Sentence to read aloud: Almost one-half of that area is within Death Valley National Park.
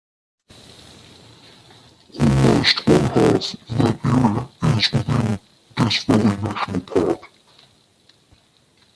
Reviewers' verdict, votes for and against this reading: rejected, 0, 2